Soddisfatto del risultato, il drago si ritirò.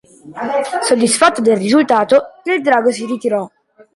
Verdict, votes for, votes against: accepted, 2, 0